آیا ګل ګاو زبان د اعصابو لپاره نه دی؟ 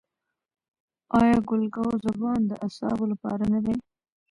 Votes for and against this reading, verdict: 0, 2, rejected